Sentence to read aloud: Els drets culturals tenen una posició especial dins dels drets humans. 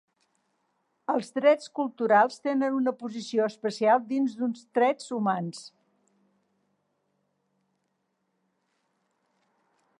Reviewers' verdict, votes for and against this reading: rejected, 1, 2